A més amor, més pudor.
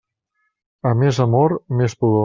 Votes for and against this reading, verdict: 1, 2, rejected